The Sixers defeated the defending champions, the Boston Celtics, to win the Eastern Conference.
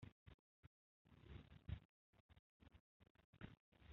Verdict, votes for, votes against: rejected, 0, 2